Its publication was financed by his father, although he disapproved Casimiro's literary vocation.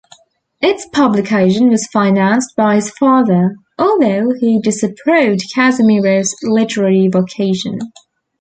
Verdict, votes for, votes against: accepted, 2, 1